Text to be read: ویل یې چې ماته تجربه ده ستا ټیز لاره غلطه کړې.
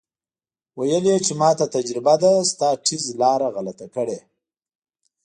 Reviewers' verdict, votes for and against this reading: accepted, 2, 0